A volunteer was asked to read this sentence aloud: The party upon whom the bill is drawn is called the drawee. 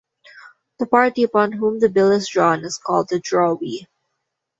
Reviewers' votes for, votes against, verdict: 2, 0, accepted